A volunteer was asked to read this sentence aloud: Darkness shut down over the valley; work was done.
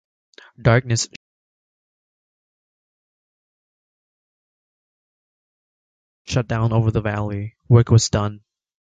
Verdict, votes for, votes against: rejected, 1, 2